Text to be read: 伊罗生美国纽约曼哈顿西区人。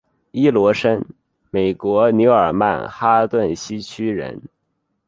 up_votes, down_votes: 1, 2